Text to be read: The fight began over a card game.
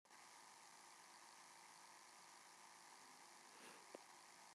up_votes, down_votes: 0, 2